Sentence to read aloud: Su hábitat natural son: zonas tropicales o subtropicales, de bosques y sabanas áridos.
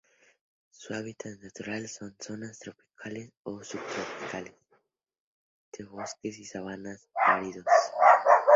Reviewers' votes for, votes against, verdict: 0, 2, rejected